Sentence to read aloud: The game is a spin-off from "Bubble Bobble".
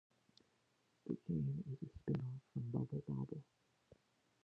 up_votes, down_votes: 2, 1